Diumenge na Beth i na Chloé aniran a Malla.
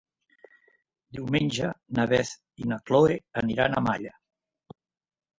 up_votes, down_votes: 1, 3